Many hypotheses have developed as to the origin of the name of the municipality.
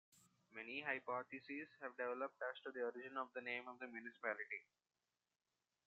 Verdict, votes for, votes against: rejected, 0, 2